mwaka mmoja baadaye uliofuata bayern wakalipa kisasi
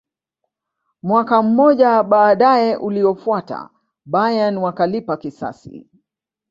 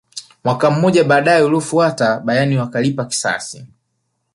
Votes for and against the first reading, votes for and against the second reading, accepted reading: 0, 2, 3, 1, second